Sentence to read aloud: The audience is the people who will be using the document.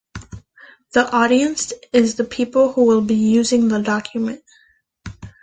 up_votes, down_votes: 2, 0